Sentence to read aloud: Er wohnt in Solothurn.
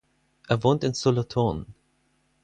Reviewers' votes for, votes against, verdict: 4, 0, accepted